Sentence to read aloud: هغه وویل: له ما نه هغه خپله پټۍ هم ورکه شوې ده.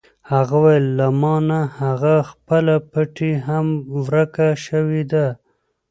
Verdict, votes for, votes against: rejected, 1, 2